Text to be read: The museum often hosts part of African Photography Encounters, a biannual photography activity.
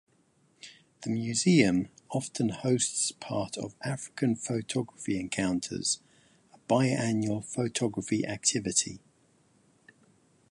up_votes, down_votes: 2, 3